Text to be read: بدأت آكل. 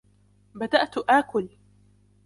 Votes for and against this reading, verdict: 3, 0, accepted